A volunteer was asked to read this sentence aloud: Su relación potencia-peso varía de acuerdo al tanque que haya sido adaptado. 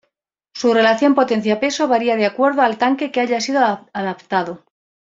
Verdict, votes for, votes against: rejected, 1, 2